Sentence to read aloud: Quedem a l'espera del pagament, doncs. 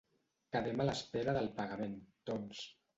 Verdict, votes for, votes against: accepted, 2, 0